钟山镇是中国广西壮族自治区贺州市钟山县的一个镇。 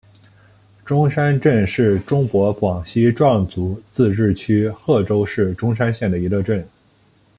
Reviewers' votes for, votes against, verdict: 2, 0, accepted